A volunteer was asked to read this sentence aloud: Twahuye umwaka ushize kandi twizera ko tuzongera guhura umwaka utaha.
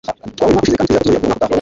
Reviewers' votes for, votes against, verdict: 1, 2, rejected